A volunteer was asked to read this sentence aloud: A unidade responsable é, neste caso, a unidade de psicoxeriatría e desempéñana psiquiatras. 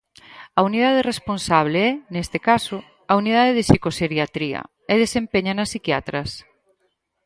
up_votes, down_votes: 6, 0